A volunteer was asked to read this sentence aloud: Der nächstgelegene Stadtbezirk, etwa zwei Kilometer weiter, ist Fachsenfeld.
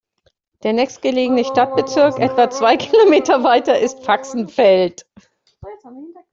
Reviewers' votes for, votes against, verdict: 2, 0, accepted